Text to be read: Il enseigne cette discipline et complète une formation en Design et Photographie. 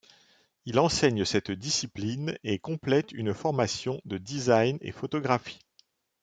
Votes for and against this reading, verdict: 1, 2, rejected